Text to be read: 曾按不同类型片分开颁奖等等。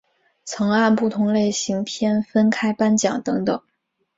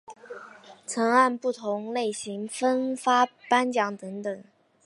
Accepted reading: first